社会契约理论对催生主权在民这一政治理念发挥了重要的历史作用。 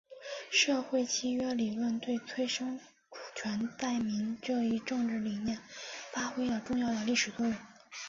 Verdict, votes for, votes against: accepted, 2, 1